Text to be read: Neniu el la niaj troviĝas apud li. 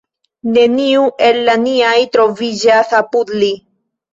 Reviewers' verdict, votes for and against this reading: accepted, 2, 0